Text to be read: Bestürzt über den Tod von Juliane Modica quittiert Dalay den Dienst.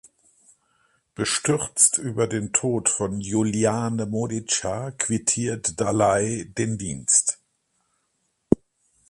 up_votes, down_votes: 4, 2